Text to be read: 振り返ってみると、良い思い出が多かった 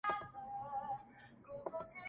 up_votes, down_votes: 1, 2